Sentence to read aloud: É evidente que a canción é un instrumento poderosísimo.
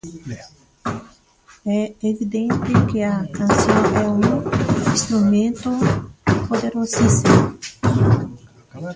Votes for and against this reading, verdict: 0, 2, rejected